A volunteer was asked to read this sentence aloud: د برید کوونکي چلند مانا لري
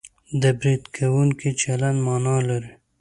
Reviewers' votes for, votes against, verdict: 2, 0, accepted